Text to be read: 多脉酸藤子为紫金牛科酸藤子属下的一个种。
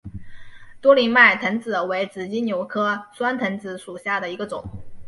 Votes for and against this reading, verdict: 3, 0, accepted